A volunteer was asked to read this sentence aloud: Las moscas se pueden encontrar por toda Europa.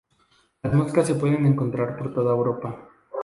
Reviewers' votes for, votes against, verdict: 0, 2, rejected